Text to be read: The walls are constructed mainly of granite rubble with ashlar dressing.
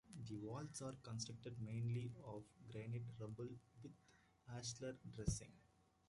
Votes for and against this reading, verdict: 0, 2, rejected